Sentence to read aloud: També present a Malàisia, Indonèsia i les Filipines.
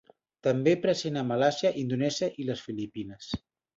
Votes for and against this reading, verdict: 2, 0, accepted